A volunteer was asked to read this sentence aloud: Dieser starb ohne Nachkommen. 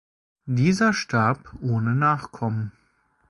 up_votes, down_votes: 2, 0